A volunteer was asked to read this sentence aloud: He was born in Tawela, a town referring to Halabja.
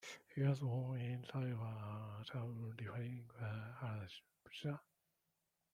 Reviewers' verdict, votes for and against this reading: rejected, 0, 2